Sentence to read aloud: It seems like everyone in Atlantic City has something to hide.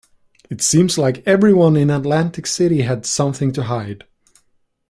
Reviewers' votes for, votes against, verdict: 1, 2, rejected